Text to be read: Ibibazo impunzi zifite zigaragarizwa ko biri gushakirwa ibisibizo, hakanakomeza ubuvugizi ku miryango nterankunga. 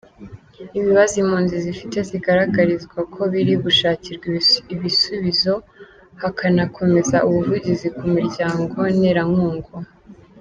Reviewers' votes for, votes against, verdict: 1, 2, rejected